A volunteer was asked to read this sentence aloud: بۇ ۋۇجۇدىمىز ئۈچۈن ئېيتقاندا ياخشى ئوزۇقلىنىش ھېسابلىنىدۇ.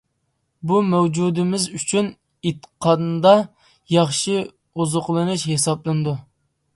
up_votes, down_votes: 1, 2